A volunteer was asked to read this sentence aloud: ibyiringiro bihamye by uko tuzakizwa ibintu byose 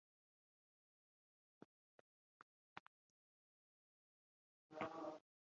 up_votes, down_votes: 0, 2